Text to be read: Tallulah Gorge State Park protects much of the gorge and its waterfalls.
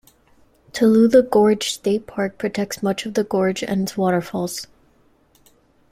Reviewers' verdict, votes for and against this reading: accepted, 2, 0